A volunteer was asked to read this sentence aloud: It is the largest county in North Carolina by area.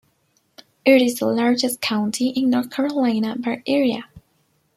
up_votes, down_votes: 2, 1